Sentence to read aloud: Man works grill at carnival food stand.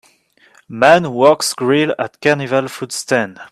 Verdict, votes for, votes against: accepted, 2, 1